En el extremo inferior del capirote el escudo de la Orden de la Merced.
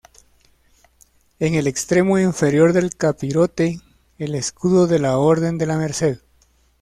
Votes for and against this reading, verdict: 2, 0, accepted